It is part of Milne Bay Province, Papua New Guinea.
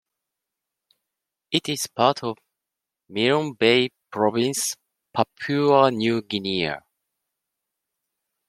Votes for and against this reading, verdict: 2, 0, accepted